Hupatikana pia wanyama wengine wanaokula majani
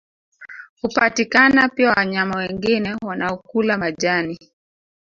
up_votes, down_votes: 0, 2